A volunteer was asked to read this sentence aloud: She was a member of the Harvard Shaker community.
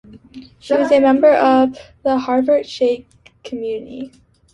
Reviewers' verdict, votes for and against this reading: rejected, 0, 2